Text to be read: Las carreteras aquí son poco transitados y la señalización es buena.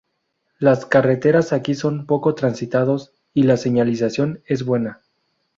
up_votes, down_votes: 2, 0